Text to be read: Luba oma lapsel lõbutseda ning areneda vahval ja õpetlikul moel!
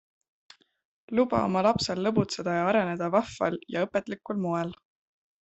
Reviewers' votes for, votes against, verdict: 2, 1, accepted